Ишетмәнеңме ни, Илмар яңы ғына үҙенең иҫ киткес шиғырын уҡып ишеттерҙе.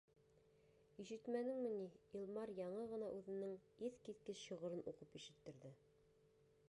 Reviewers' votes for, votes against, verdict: 1, 2, rejected